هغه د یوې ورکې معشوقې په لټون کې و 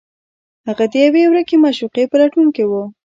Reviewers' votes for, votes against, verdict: 0, 2, rejected